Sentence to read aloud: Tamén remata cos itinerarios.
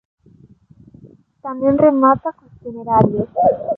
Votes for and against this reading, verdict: 0, 2, rejected